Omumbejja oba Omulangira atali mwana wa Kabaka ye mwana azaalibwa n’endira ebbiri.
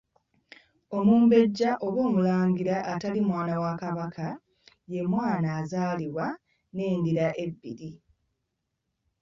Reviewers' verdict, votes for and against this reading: rejected, 1, 2